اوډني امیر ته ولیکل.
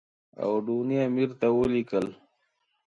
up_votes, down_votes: 2, 0